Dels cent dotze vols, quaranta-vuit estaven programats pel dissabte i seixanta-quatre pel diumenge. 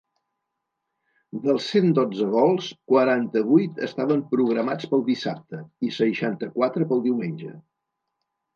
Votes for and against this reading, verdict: 3, 0, accepted